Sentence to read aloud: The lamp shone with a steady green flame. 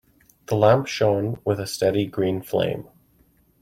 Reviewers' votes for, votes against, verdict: 2, 0, accepted